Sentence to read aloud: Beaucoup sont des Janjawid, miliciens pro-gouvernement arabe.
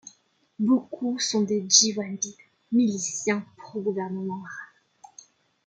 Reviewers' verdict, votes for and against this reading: rejected, 0, 2